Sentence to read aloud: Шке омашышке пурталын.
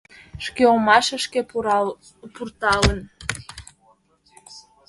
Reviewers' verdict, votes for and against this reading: rejected, 1, 2